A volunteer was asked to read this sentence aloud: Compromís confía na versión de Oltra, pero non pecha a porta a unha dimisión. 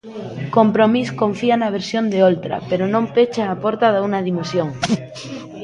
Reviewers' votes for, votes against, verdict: 0, 2, rejected